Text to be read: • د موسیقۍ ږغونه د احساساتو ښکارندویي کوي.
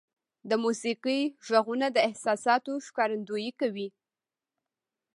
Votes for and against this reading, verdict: 1, 2, rejected